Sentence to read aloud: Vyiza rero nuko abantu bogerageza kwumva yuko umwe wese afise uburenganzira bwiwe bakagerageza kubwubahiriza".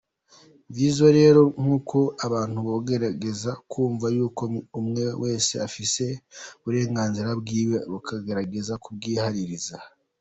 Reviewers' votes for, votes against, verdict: 2, 1, accepted